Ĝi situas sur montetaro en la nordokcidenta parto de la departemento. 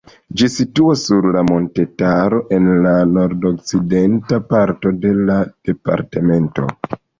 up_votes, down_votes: 2, 0